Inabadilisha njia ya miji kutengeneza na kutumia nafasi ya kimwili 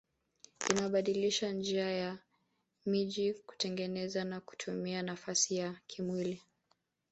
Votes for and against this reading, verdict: 1, 2, rejected